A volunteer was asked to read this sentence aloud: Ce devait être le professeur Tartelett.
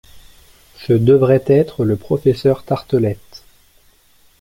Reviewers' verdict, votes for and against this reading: rejected, 1, 2